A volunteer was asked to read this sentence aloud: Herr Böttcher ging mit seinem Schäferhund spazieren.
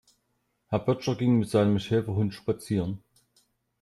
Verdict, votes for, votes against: accepted, 2, 0